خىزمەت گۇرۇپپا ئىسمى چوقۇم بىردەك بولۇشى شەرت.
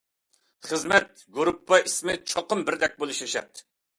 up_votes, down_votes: 2, 0